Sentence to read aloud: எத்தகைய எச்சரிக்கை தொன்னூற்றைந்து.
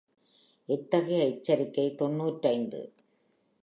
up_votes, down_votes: 2, 0